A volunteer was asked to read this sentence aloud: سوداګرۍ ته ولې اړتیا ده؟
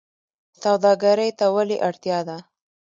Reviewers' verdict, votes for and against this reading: rejected, 1, 2